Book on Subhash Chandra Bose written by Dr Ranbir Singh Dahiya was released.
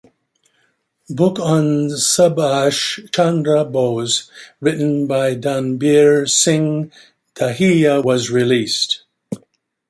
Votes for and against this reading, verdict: 0, 2, rejected